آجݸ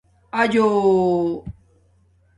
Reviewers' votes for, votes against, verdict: 2, 1, accepted